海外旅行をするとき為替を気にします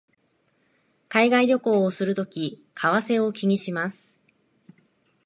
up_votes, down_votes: 2, 0